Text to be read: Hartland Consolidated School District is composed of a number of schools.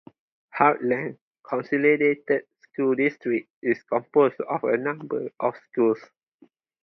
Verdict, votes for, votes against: rejected, 0, 4